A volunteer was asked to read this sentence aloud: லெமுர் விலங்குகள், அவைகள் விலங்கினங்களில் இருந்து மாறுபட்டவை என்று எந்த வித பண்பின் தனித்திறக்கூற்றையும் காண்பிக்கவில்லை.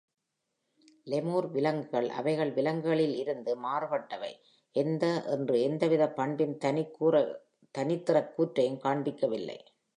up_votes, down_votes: 0, 2